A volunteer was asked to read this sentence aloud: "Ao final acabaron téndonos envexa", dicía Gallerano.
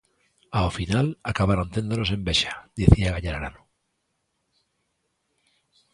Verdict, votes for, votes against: rejected, 1, 2